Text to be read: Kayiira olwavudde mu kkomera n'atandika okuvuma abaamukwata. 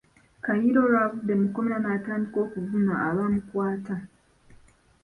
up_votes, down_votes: 0, 2